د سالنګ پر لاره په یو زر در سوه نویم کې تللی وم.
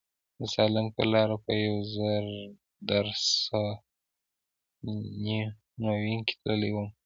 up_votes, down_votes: 0, 2